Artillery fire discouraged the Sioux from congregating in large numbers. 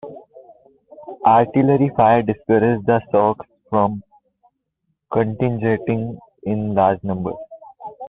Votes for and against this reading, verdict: 2, 0, accepted